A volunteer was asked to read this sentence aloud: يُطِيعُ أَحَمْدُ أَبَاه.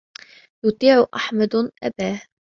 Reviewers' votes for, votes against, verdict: 0, 2, rejected